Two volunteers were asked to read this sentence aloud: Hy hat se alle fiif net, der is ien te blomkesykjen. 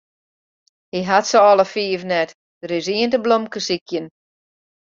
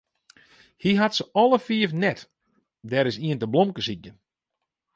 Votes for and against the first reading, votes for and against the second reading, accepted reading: 2, 0, 0, 2, first